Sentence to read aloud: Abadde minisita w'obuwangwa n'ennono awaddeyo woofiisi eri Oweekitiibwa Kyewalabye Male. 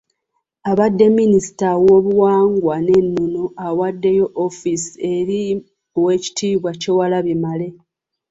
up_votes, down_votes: 1, 2